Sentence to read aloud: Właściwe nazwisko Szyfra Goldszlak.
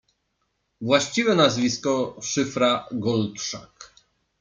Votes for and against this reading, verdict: 0, 2, rejected